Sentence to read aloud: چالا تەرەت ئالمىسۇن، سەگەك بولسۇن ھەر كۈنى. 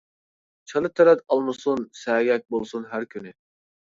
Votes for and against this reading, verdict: 2, 0, accepted